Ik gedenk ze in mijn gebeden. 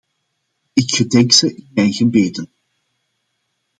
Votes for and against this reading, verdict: 0, 2, rejected